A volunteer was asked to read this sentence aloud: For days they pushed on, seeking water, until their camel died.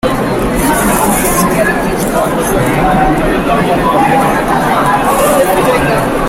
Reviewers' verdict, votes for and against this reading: rejected, 0, 2